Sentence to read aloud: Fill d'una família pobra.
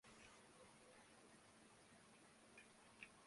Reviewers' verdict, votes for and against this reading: rejected, 0, 2